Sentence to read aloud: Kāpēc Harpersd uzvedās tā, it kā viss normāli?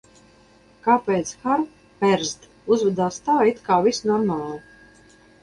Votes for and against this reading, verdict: 2, 2, rejected